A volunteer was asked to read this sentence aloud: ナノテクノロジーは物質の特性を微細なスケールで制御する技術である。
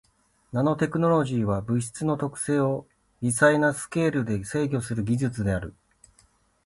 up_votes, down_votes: 3, 0